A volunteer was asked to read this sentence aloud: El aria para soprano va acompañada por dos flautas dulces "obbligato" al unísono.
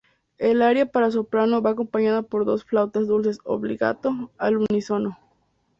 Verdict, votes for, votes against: accepted, 2, 0